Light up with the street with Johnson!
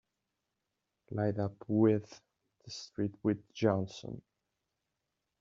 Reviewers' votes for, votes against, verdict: 2, 0, accepted